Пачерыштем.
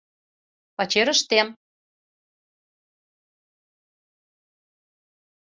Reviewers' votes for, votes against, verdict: 2, 0, accepted